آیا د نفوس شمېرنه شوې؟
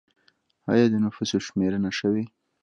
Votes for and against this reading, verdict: 0, 2, rejected